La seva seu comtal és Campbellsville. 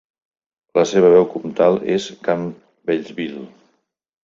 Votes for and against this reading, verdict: 0, 2, rejected